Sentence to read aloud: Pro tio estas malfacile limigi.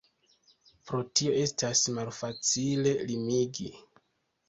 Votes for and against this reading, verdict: 2, 0, accepted